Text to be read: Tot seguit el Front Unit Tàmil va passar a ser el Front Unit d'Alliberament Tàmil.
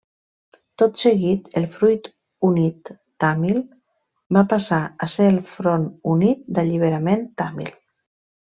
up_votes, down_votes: 0, 2